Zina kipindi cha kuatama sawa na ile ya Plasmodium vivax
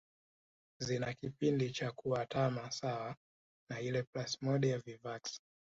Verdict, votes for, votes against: accepted, 2, 0